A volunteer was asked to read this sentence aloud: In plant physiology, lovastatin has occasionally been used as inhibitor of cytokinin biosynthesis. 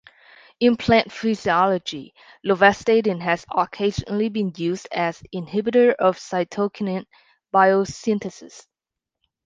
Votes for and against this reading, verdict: 1, 2, rejected